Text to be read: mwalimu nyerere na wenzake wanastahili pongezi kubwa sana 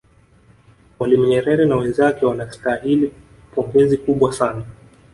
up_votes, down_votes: 0, 2